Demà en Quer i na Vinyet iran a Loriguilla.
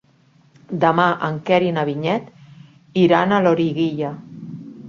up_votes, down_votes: 3, 0